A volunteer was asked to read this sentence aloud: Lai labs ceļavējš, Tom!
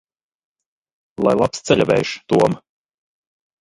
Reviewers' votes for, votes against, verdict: 1, 2, rejected